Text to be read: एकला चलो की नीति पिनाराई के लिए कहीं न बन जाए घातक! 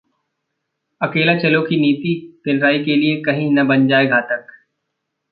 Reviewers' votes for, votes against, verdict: 0, 2, rejected